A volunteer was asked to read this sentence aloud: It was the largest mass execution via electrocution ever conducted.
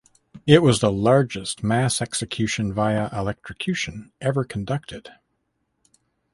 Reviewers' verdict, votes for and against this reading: accepted, 2, 0